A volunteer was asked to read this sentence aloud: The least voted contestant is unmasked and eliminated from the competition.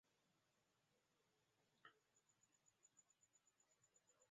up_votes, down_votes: 0, 2